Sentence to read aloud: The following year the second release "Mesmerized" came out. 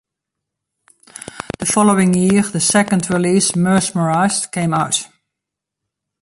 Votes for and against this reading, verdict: 2, 0, accepted